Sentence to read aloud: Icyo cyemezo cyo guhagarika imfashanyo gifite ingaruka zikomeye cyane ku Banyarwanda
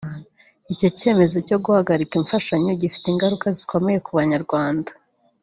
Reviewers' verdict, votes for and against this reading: rejected, 1, 2